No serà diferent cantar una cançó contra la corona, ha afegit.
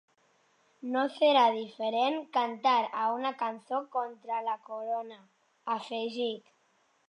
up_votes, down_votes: 0, 2